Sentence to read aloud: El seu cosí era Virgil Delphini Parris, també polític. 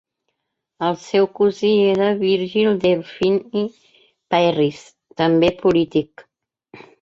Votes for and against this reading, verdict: 3, 2, accepted